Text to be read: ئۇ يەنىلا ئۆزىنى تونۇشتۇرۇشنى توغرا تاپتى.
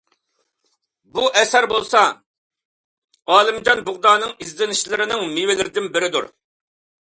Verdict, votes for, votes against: rejected, 0, 2